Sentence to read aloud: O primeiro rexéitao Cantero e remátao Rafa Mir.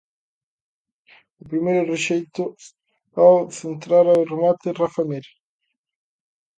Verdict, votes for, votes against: rejected, 0, 2